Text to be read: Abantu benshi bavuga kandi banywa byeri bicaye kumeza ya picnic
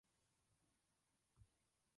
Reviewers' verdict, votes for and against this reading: rejected, 0, 2